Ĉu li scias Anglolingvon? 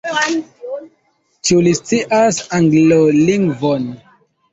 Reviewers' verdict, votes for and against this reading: accepted, 2, 1